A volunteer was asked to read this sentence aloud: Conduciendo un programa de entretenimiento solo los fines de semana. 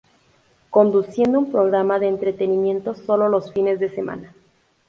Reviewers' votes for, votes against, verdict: 2, 0, accepted